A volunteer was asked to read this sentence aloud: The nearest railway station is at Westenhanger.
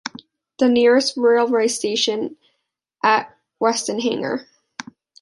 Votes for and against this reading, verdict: 1, 2, rejected